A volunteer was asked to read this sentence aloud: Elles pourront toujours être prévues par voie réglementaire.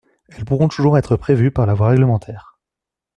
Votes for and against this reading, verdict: 0, 2, rejected